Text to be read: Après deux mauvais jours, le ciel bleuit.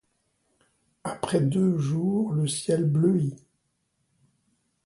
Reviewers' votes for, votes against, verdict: 0, 2, rejected